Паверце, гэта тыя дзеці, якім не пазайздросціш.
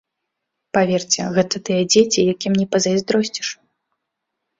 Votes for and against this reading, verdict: 2, 0, accepted